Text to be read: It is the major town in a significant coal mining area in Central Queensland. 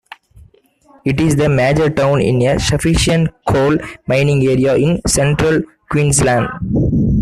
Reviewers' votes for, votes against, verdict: 0, 2, rejected